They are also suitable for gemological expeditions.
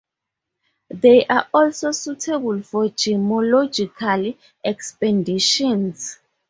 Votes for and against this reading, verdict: 2, 2, rejected